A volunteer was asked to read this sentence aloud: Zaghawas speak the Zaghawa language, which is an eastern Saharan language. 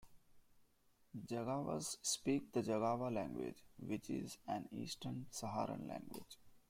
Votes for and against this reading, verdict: 2, 0, accepted